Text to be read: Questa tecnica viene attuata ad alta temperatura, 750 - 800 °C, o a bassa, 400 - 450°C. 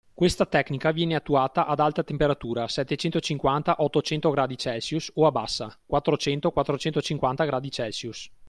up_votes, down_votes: 0, 2